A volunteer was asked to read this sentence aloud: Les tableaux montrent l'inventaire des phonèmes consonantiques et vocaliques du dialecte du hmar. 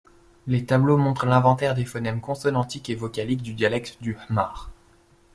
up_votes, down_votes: 2, 0